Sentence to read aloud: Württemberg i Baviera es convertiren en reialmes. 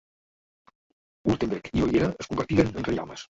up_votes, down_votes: 0, 2